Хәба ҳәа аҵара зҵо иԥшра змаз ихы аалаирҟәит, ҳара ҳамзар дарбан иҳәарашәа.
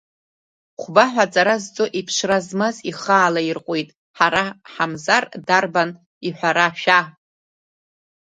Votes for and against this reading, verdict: 0, 2, rejected